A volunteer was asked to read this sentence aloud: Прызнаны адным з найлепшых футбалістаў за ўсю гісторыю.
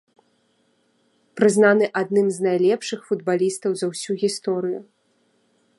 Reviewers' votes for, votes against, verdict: 2, 0, accepted